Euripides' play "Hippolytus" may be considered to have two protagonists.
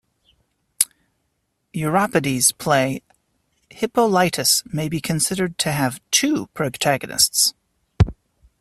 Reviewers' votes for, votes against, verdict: 0, 2, rejected